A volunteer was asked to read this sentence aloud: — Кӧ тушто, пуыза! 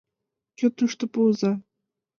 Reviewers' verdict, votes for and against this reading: accepted, 2, 0